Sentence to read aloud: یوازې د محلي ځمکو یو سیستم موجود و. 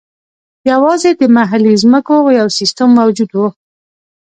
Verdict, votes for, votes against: accepted, 2, 0